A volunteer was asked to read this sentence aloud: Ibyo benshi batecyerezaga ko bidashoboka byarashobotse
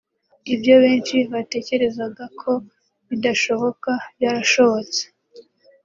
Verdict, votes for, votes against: accepted, 2, 0